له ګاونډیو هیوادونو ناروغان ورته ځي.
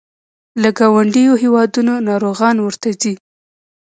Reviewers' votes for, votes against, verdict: 0, 2, rejected